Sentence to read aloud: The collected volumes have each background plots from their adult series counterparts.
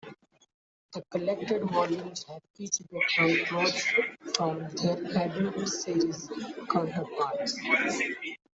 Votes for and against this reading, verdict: 0, 2, rejected